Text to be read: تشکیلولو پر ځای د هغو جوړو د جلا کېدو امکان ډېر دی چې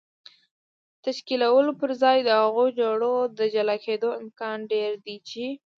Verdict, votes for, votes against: rejected, 0, 2